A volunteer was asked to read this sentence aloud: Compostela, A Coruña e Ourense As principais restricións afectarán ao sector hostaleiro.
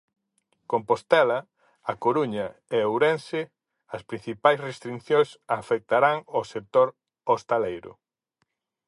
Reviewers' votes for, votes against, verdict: 0, 4, rejected